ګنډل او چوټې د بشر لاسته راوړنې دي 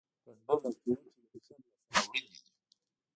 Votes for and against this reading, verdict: 1, 2, rejected